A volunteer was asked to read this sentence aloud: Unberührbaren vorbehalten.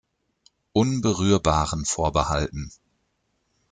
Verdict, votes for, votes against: accepted, 2, 0